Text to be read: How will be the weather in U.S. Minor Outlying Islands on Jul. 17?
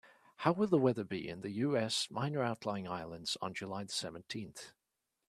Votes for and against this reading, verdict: 0, 2, rejected